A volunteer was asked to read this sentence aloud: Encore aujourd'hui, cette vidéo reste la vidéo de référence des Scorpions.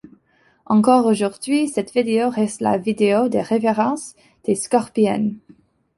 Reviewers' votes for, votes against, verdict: 1, 2, rejected